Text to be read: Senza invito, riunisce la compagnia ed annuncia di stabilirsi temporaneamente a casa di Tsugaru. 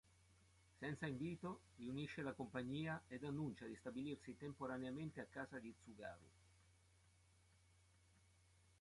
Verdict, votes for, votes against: accepted, 2, 1